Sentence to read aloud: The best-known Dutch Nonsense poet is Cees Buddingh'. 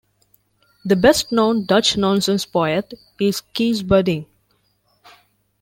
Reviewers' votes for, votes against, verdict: 2, 0, accepted